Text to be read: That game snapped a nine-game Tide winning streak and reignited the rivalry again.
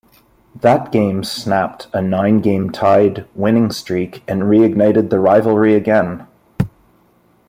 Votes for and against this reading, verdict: 2, 1, accepted